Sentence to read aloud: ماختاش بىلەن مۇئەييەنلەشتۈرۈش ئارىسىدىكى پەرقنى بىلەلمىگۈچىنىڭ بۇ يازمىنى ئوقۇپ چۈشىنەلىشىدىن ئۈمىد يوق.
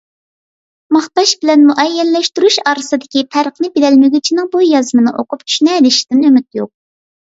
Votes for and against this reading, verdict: 2, 0, accepted